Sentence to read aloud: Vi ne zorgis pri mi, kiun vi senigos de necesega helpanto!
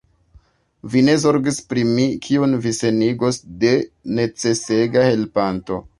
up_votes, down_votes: 2, 0